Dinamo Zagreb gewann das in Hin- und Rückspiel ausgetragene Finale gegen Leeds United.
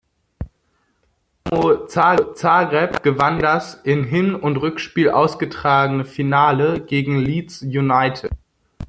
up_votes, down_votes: 0, 2